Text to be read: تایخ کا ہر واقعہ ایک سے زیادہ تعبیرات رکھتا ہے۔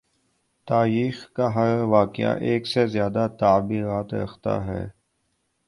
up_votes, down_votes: 3, 0